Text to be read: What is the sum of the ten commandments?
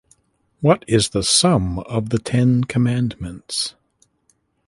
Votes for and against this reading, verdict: 3, 0, accepted